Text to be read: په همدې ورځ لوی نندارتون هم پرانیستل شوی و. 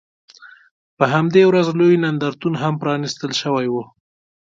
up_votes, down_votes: 2, 0